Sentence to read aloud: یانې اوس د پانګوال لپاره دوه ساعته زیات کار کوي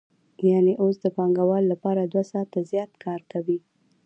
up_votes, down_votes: 2, 0